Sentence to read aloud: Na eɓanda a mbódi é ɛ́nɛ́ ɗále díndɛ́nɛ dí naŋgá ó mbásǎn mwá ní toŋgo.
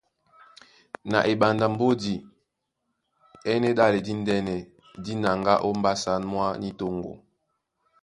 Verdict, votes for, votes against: accepted, 2, 0